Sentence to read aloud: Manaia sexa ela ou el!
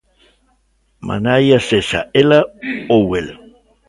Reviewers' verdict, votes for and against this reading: rejected, 1, 2